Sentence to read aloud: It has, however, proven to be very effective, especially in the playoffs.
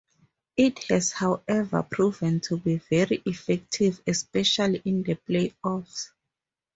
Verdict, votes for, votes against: accepted, 4, 0